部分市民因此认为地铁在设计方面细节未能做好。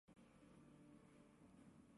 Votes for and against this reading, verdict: 1, 2, rejected